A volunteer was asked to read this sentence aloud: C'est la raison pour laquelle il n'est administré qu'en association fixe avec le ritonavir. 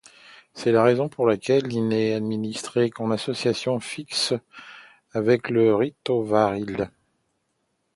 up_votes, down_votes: 0, 2